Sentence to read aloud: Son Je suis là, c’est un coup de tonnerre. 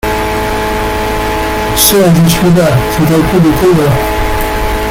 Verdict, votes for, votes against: rejected, 1, 2